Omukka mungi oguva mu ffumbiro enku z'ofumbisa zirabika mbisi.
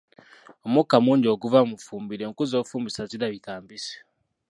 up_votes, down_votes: 1, 2